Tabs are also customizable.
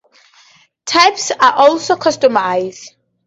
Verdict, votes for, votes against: rejected, 0, 4